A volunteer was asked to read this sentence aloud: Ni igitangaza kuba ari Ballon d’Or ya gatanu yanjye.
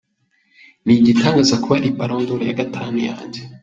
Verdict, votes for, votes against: rejected, 0, 2